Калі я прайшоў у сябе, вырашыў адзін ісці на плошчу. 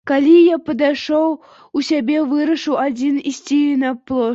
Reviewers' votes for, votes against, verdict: 0, 2, rejected